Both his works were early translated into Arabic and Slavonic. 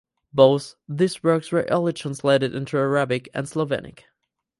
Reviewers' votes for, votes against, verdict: 0, 4, rejected